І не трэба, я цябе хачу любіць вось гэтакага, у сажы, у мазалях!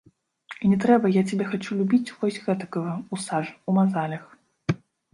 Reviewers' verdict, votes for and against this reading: rejected, 0, 2